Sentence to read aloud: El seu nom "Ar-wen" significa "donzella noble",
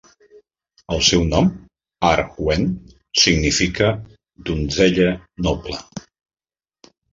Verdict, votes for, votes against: accepted, 2, 0